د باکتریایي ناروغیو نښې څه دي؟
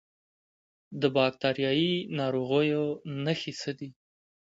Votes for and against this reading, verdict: 2, 0, accepted